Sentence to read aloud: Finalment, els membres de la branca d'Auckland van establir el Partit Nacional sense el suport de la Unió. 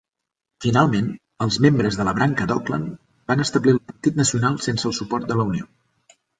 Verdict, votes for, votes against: accepted, 2, 0